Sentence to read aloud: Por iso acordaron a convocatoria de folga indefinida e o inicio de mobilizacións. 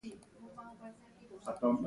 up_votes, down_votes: 0, 2